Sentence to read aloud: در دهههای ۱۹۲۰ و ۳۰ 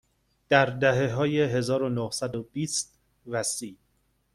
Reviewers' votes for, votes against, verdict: 0, 2, rejected